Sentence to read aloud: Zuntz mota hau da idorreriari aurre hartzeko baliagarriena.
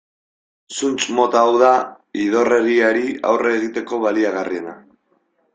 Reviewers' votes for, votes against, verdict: 1, 2, rejected